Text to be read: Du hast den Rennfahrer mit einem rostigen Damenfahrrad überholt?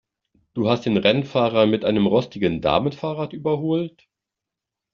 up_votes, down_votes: 2, 0